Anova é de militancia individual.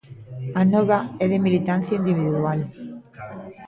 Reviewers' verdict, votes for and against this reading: rejected, 0, 2